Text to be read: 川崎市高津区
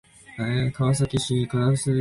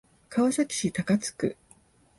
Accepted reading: second